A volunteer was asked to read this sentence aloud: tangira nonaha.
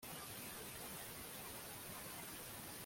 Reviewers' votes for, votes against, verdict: 0, 2, rejected